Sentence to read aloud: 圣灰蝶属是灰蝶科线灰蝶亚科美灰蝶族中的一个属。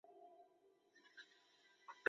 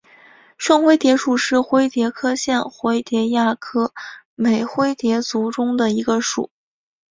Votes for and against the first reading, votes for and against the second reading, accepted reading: 0, 4, 3, 0, second